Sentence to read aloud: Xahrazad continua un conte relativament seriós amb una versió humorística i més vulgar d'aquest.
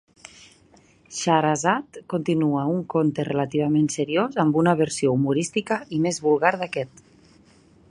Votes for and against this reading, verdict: 2, 0, accepted